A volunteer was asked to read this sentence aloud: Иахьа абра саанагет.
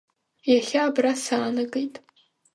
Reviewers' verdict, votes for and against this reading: accepted, 2, 1